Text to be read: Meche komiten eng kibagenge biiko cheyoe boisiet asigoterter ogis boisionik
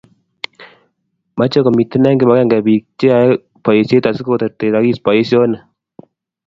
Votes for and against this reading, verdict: 2, 0, accepted